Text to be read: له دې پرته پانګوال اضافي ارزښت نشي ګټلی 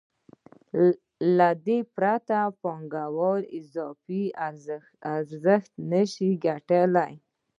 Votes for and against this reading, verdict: 2, 0, accepted